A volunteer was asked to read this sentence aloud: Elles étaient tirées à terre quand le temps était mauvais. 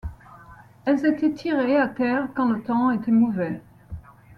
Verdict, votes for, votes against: accepted, 2, 0